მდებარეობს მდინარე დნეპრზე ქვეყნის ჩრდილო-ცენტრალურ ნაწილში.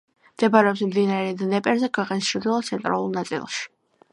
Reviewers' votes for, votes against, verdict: 2, 0, accepted